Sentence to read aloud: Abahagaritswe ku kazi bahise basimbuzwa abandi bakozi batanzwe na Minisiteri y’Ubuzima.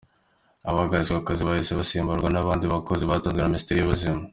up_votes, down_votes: 2, 1